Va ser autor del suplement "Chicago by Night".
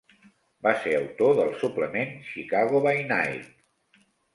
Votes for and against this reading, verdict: 2, 0, accepted